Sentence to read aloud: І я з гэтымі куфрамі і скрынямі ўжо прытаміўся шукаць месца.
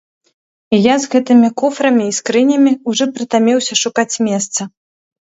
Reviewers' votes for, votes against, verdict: 0, 2, rejected